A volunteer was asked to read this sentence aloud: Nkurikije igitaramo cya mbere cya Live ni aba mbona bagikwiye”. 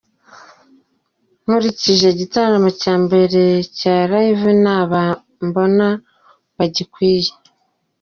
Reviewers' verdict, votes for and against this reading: accepted, 2, 0